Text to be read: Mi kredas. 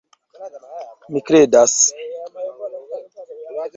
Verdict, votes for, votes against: accepted, 2, 1